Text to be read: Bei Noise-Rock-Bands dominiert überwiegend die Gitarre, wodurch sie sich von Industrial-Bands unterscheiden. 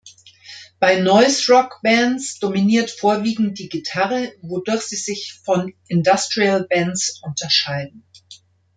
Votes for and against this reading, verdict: 0, 2, rejected